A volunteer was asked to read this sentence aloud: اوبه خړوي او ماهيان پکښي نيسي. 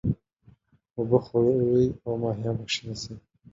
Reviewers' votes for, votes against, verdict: 1, 2, rejected